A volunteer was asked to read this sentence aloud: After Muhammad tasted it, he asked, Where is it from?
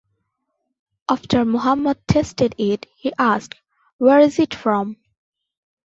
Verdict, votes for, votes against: accepted, 2, 0